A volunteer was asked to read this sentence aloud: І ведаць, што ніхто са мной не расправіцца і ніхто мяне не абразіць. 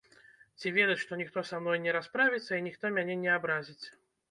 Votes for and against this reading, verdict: 1, 2, rejected